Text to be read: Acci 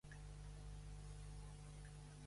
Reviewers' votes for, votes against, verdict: 0, 2, rejected